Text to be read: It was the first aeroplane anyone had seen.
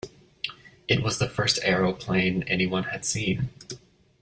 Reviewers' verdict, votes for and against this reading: accepted, 2, 0